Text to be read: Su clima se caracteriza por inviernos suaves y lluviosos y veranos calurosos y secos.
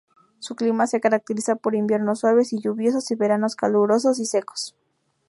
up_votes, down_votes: 2, 0